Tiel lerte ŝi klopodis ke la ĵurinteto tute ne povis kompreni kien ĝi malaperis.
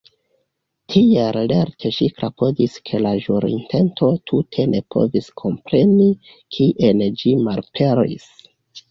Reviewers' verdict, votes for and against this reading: accepted, 2, 0